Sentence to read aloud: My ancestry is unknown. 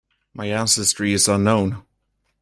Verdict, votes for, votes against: rejected, 1, 2